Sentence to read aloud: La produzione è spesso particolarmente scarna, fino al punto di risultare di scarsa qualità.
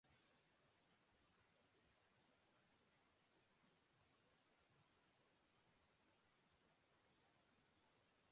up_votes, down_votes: 0, 2